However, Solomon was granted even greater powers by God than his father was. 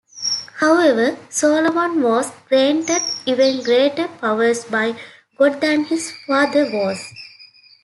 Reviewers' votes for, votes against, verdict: 1, 2, rejected